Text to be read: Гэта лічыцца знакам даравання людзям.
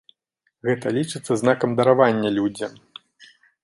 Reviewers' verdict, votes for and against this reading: accepted, 2, 0